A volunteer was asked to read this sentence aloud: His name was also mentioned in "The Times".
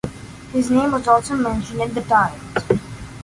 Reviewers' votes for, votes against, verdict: 2, 0, accepted